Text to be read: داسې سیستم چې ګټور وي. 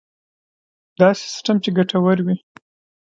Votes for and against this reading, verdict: 1, 2, rejected